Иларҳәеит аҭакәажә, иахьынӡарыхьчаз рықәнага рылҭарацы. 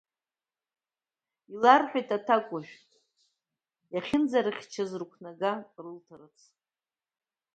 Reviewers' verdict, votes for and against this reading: rejected, 1, 2